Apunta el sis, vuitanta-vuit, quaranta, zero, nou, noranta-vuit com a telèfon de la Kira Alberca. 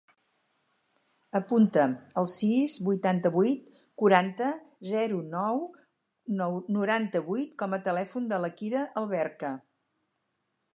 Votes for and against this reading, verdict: 0, 4, rejected